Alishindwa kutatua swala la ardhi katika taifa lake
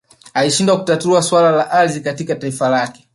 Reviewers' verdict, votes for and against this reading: rejected, 0, 2